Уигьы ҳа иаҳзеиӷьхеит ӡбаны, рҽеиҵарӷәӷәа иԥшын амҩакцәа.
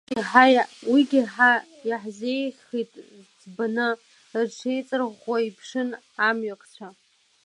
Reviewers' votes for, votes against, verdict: 0, 2, rejected